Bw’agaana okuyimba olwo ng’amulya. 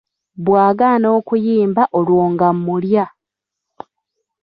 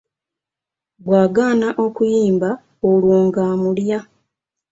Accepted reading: second